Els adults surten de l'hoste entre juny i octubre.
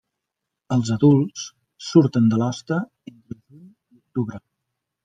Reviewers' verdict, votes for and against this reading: rejected, 0, 2